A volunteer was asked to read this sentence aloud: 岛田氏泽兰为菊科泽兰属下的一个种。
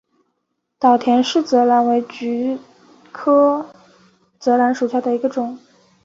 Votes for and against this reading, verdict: 2, 1, accepted